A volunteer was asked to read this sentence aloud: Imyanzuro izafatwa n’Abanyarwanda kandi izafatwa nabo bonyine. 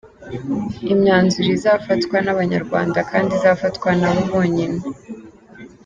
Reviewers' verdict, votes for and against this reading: accepted, 2, 1